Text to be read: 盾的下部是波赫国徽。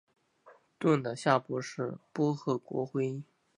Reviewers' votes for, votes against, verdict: 1, 2, rejected